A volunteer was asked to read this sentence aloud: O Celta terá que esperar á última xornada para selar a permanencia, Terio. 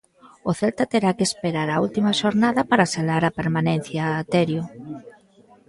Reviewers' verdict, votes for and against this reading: rejected, 1, 2